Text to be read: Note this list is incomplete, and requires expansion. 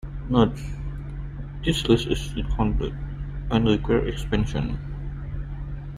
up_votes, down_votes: 0, 2